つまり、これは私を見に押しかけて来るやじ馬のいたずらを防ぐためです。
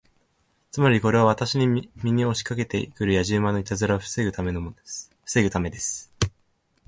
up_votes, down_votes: 0, 2